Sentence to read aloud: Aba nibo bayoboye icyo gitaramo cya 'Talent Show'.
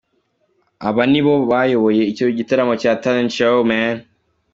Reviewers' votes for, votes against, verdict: 0, 2, rejected